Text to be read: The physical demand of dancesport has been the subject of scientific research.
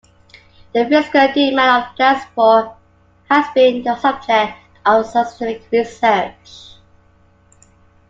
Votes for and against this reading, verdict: 0, 2, rejected